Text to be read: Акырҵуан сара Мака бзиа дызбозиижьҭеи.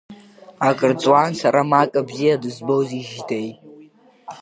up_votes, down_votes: 1, 2